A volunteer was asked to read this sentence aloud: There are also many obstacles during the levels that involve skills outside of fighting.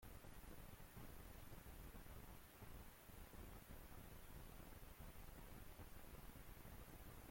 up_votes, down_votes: 0, 2